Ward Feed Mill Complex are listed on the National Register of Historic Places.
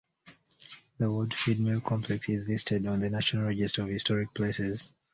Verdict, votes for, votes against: rejected, 0, 2